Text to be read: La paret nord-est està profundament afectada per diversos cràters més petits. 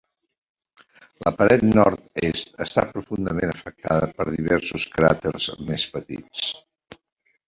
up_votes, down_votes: 2, 0